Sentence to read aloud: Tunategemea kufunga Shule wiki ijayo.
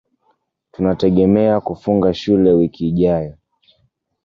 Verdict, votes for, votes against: accepted, 2, 0